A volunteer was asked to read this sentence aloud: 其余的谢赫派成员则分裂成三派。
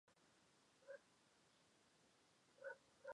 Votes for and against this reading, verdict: 0, 2, rejected